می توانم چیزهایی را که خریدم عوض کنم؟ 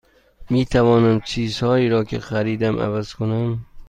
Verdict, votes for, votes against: accepted, 2, 0